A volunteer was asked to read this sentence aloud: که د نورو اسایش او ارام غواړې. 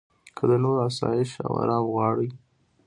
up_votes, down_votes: 2, 0